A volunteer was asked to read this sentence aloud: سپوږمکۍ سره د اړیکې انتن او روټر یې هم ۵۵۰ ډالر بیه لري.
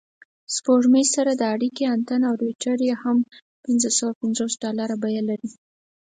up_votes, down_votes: 0, 2